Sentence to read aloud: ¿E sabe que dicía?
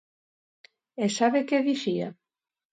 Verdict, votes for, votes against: accepted, 2, 0